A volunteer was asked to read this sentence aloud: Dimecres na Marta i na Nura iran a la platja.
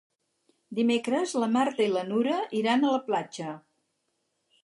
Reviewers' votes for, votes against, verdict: 2, 4, rejected